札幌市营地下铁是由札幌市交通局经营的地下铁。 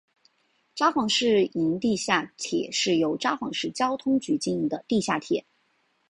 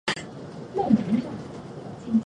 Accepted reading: first